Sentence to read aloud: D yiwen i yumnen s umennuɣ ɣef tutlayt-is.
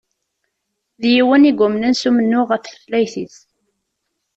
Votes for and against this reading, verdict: 2, 0, accepted